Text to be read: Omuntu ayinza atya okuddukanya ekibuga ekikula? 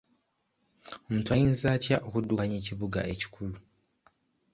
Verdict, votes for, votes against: accepted, 2, 0